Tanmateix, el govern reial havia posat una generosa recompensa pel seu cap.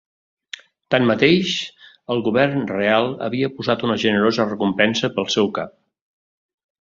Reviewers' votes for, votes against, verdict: 1, 2, rejected